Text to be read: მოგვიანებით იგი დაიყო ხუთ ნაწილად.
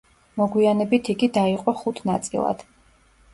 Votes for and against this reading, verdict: 1, 2, rejected